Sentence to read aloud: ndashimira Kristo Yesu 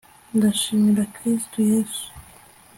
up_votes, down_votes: 2, 0